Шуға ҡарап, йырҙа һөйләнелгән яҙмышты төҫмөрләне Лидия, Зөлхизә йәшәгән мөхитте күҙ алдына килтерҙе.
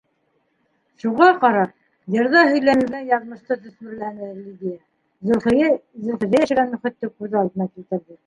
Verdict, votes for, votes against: rejected, 0, 2